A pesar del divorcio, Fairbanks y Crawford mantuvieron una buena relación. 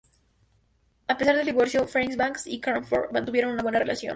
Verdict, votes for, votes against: rejected, 0, 2